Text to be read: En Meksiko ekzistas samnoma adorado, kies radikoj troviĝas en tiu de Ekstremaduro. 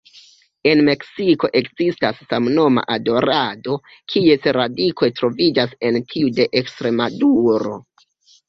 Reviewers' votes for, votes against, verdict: 2, 1, accepted